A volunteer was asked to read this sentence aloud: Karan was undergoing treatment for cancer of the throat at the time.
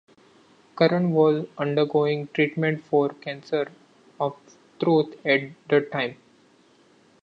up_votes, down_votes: 0, 2